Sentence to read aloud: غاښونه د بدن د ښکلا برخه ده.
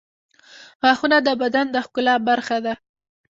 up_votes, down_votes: 1, 2